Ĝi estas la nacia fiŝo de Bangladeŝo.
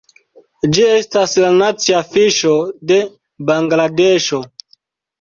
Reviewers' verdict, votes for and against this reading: rejected, 0, 2